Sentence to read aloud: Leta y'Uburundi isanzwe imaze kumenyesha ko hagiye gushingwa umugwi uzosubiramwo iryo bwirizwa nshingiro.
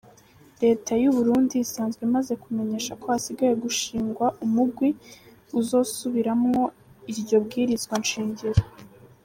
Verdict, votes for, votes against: accepted, 2, 0